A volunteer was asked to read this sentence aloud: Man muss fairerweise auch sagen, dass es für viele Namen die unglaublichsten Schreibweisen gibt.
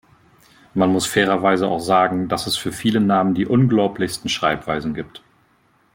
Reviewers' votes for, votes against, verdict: 2, 1, accepted